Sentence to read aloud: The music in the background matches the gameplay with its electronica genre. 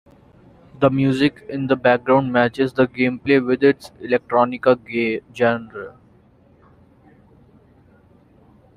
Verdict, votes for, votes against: rejected, 1, 2